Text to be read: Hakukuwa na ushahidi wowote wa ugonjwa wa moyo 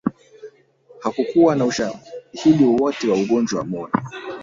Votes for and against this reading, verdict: 1, 2, rejected